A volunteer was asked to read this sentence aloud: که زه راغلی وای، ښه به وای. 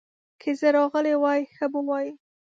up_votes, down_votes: 2, 0